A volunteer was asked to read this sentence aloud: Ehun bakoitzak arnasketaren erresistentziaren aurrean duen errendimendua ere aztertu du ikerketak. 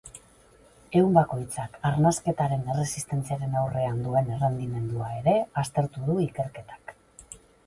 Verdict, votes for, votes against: accepted, 4, 0